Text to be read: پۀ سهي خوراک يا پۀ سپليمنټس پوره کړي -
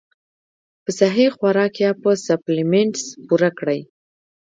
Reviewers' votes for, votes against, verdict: 2, 0, accepted